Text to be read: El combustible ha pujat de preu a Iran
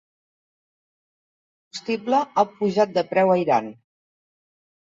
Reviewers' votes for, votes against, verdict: 0, 2, rejected